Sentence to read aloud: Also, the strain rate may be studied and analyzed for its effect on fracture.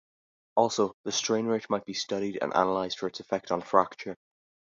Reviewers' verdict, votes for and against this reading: accepted, 2, 0